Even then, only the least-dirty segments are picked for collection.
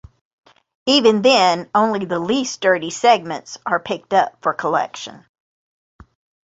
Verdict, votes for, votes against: accepted, 2, 1